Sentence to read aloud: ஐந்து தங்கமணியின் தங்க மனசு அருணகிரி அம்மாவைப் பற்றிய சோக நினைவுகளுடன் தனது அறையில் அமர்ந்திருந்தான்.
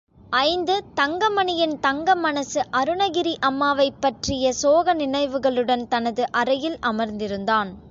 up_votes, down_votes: 2, 0